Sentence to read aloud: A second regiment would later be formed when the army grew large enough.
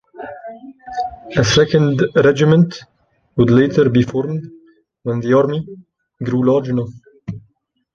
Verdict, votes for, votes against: rejected, 1, 2